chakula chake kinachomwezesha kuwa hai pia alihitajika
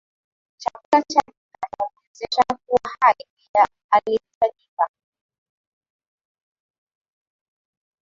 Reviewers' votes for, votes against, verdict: 8, 8, rejected